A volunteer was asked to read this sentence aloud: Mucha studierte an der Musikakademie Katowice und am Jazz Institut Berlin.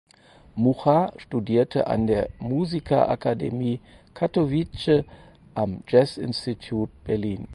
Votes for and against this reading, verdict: 0, 4, rejected